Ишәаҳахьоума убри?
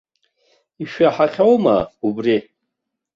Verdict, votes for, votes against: accepted, 2, 0